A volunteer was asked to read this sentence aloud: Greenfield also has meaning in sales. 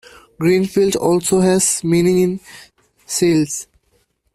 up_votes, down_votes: 1, 2